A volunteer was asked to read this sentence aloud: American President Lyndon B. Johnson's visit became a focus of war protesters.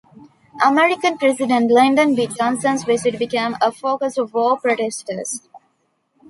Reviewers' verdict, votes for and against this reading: accepted, 2, 0